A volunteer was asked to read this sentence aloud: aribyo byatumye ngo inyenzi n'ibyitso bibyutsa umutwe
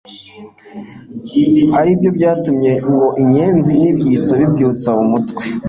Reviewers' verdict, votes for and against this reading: accepted, 2, 0